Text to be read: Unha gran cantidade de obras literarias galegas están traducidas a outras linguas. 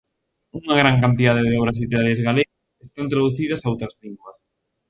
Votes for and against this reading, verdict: 0, 2, rejected